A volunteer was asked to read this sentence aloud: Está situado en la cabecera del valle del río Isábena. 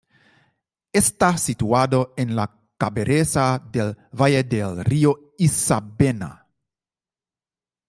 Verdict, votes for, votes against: rejected, 0, 2